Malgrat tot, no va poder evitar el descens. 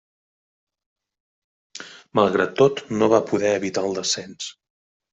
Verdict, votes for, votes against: accepted, 3, 0